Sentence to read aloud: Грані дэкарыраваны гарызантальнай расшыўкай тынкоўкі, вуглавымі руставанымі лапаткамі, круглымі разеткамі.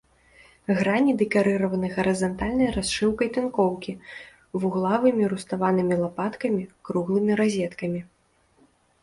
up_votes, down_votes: 1, 2